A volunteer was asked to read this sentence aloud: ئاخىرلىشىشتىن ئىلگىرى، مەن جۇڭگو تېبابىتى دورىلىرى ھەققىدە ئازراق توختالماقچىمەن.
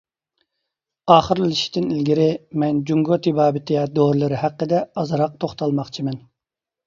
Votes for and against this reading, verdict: 2, 0, accepted